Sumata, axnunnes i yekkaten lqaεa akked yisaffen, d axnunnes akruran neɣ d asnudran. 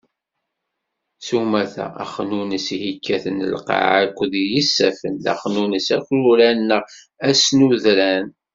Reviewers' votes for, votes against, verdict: 1, 2, rejected